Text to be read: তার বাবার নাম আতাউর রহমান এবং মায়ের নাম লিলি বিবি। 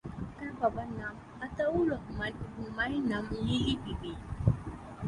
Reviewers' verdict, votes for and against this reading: accepted, 3, 0